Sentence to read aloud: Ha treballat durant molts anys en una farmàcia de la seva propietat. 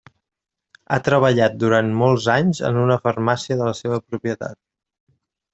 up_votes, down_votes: 3, 0